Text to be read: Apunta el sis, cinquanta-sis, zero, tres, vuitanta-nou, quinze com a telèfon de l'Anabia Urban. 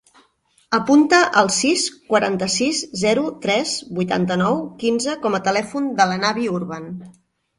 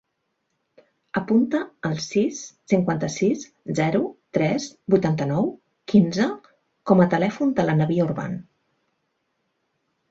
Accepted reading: second